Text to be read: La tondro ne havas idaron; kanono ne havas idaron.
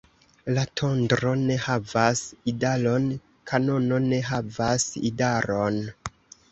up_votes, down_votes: 0, 2